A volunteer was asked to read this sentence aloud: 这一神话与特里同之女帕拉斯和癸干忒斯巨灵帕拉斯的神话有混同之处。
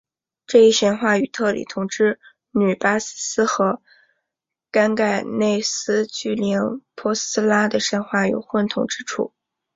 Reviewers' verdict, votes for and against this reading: accepted, 2, 1